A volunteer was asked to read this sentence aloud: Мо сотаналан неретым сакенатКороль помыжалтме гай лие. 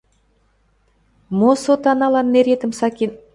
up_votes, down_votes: 0, 2